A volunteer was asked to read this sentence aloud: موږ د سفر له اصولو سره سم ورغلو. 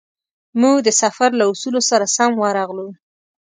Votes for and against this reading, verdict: 2, 0, accepted